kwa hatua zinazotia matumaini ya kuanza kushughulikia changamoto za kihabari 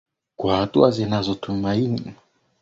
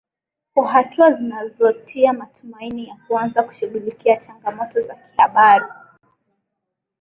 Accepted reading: second